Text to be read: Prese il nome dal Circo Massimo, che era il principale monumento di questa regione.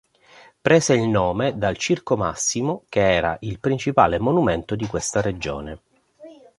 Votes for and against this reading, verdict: 2, 0, accepted